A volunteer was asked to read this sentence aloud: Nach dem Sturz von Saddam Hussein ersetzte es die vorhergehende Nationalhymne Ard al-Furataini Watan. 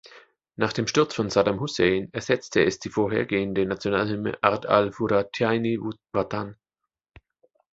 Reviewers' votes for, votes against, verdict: 1, 2, rejected